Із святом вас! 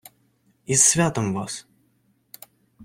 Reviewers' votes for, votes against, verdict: 2, 0, accepted